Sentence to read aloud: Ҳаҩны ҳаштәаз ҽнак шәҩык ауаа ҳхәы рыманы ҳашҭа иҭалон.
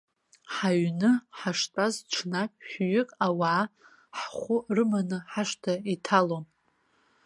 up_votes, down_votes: 2, 0